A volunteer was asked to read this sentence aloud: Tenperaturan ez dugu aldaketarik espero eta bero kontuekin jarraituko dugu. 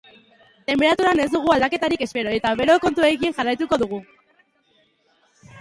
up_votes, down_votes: 2, 2